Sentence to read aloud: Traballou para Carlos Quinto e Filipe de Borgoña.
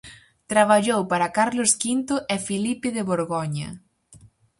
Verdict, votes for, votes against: accepted, 4, 0